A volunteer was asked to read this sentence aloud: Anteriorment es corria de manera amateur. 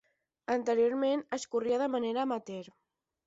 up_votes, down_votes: 10, 0